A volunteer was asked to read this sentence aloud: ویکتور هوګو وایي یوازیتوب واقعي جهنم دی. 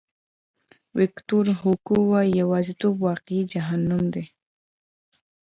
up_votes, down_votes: 0, 2